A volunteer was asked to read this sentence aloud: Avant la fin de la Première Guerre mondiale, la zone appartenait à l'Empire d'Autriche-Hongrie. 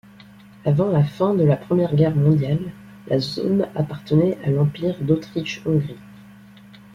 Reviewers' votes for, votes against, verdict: 2, 0, accepted